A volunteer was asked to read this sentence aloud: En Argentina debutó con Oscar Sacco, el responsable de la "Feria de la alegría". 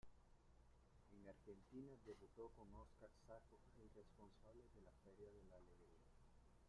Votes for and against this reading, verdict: 0, 2, rejected